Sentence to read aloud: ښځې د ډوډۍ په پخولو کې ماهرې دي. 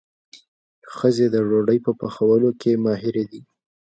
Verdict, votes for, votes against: accepted, 2, 0